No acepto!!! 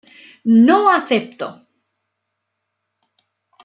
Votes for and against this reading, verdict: 2, 0, accepted